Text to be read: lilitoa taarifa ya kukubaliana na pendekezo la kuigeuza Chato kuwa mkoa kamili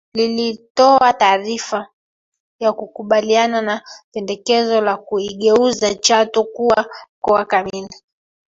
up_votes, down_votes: 1, 2